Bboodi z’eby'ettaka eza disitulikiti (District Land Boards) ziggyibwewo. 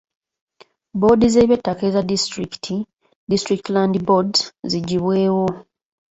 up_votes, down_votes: 2, 1